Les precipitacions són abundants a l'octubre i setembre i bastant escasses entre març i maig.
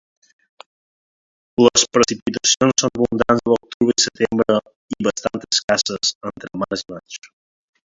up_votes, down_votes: 0, 2